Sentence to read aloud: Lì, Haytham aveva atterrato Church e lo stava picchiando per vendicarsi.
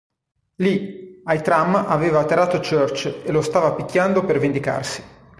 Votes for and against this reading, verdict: 1, 2, rejected